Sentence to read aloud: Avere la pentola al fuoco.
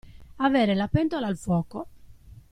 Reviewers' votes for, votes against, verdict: 2, 0, accepted